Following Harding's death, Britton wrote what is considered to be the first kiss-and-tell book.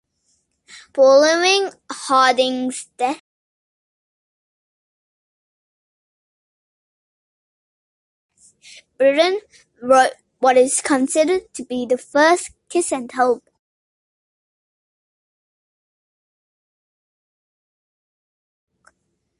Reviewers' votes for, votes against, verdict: 0, 2, rejected